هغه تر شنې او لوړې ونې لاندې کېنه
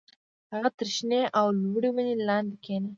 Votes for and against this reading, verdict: 2, 1, accepted